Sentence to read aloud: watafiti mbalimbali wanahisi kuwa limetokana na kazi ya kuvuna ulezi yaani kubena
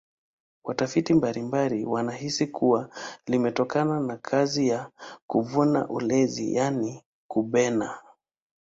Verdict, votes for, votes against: rejected, 1, 2